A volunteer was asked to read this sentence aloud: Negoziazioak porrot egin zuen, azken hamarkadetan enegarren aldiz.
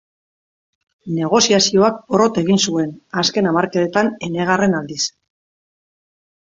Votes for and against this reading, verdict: 3, 0, accepted